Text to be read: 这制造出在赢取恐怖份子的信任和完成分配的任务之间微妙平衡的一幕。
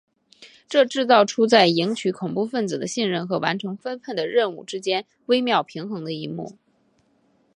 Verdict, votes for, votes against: accepted, 3, 0